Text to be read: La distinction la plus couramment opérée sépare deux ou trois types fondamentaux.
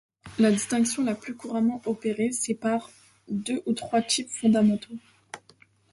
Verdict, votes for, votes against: accepted, 2, 0